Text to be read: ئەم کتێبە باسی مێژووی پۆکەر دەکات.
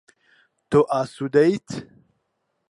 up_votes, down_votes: 0, 4